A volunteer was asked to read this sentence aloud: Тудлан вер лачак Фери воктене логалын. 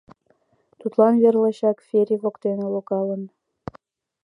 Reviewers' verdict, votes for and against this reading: accepted, 2, 0